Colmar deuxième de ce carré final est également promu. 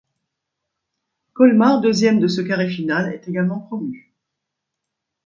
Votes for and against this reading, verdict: 2, 0, accepted